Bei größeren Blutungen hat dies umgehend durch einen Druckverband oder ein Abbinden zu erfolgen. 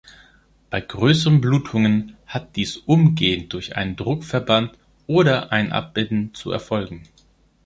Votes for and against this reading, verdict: 3, 1, accepted